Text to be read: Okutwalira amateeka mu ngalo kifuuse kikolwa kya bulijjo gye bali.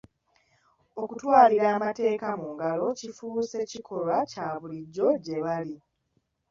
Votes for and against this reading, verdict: 2, 1, accepted